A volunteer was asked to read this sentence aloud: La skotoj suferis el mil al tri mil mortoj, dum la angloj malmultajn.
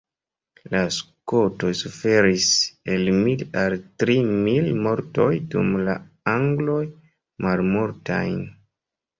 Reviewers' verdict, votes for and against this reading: rejected, 0, 2